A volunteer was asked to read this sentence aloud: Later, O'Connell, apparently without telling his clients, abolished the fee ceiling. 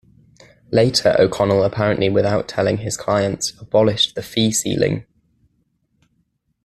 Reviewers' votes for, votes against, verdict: 2, 1, accepted